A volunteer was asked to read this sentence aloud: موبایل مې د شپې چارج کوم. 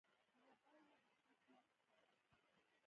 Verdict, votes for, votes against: rejected, 0, 2